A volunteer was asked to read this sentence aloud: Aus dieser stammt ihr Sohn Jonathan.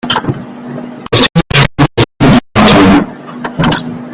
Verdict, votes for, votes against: rejected, 0, 2